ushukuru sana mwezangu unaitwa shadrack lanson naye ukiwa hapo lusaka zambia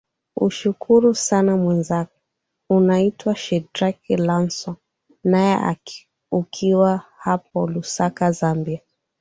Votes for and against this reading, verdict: 3, 1, accepted